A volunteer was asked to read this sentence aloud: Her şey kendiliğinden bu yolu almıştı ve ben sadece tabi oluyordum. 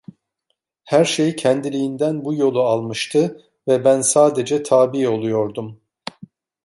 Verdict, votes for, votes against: rejected, 1, 2